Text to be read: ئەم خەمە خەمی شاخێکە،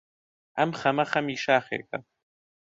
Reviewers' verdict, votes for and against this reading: accepted, 2, 0